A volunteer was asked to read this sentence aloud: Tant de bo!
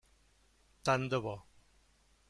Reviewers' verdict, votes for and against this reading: accepted, 3, 1